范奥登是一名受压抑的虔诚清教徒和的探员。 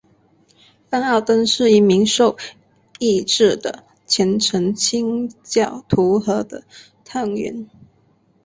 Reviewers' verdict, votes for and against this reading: rejected, 0, 4